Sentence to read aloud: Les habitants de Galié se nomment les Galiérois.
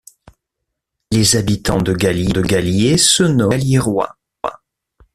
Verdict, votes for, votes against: rejected, 0, 2